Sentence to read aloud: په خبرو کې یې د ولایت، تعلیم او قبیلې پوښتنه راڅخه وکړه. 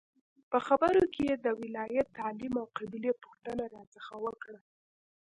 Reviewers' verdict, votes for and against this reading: rejected, 0, 2